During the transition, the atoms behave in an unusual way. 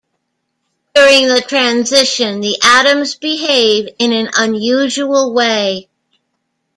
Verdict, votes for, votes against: rejected, 1, 2